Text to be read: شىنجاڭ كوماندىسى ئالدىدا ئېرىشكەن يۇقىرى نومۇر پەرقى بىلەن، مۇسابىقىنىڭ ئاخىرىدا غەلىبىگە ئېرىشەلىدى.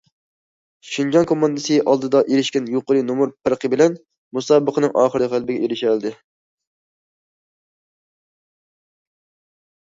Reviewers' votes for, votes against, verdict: 2, 0, accepted